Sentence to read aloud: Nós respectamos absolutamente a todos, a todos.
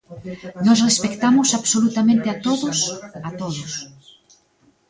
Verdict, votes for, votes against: rejected, 0, 2